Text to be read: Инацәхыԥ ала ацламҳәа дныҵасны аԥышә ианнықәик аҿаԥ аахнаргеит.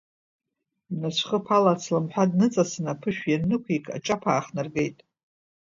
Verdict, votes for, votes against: rejected, 1, 2